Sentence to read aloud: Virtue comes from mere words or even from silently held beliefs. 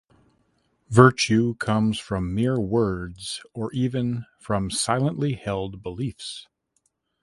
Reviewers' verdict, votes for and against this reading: accepted, 2, 0